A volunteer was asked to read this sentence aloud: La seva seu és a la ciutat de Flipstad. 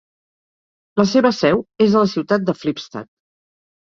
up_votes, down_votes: 2, 0